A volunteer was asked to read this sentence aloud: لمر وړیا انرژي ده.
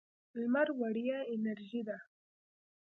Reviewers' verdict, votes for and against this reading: rejected, 1, 2